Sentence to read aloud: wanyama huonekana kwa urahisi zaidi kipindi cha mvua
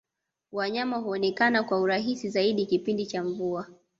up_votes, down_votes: 1, 2